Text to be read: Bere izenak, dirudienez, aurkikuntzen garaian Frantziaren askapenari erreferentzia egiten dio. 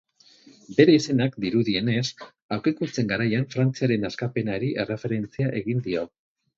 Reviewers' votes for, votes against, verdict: 0, 4, rejected